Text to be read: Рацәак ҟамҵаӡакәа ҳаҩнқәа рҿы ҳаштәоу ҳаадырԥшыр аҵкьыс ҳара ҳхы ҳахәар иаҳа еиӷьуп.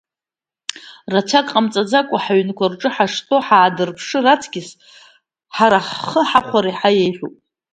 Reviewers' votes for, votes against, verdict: 2, 0, accepted